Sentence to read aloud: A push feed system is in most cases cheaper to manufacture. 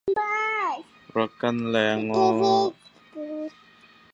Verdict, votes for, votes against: rejected, 0, 2